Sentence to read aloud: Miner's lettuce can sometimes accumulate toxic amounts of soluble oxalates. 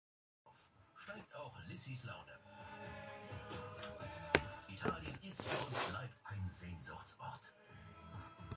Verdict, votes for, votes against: rejected, 0, 2